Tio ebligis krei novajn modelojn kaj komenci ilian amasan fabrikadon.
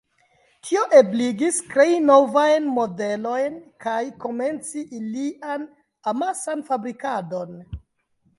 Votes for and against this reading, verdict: 2, 0, accepted